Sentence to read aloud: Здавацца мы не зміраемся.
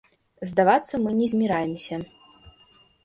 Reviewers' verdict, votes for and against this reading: accepted, 2, 0